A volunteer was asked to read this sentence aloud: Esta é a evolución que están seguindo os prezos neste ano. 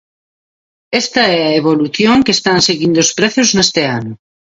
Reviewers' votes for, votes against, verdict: 2, 1, accepted